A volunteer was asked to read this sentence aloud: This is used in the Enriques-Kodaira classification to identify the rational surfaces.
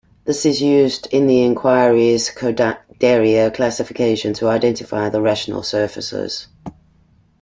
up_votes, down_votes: 1, 2